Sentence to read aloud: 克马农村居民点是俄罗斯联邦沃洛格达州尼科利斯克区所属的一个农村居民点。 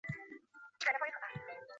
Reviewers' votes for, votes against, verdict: 2, 4, rejected